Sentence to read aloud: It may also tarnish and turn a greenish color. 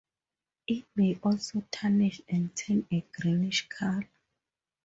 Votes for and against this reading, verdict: 2, 4, rejected